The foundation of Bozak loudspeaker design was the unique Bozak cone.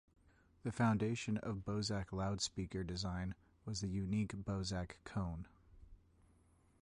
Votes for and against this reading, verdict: 2, 1, accepted